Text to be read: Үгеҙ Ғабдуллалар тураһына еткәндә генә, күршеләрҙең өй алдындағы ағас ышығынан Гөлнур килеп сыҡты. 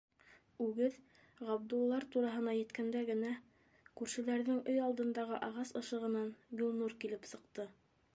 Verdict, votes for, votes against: accepted, 2, 0